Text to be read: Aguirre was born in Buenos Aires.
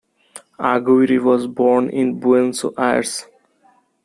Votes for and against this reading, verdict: 1, 2, rejected